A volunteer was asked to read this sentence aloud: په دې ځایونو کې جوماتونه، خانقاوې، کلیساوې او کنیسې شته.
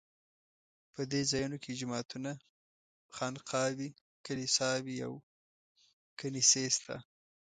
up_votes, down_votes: 2, 0